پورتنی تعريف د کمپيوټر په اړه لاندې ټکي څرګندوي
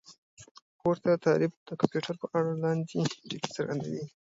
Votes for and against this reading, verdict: 2, 0, accepted